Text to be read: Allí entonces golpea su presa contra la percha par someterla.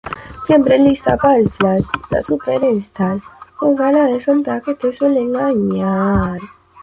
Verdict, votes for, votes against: rejected, 0, 2